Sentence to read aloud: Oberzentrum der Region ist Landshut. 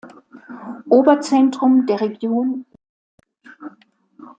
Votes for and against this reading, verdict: 0, 2, rejected